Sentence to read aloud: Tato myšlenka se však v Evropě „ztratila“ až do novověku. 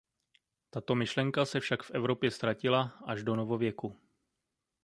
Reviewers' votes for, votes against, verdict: 2, 0, accepted